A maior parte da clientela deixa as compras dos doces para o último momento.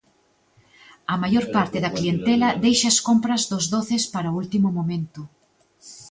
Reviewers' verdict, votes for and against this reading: rejected, 1, 2